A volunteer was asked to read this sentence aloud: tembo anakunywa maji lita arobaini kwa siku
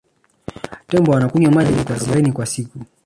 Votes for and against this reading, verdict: 0, 2, rejected